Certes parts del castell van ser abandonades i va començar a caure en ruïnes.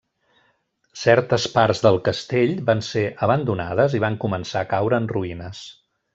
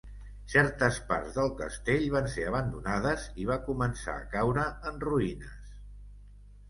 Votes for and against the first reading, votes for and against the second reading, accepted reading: 1, 2, 2, 0, second